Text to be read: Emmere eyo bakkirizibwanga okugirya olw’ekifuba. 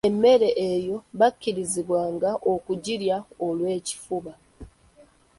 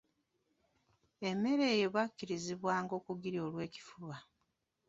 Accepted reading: first